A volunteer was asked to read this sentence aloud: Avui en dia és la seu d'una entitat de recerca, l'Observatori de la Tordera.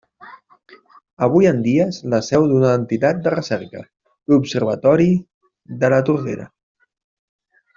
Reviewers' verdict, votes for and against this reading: rejected, 1, 2